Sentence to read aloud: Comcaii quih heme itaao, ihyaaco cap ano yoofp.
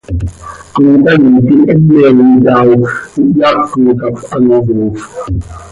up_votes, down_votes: 2, 0